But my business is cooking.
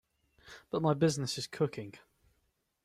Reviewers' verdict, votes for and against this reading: accepted, 2, 0